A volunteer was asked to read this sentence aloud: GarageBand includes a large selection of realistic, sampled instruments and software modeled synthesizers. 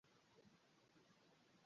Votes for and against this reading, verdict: 0, 3, rejected